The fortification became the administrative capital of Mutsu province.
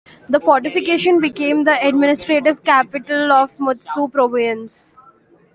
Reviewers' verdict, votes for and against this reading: accepted, 2, 1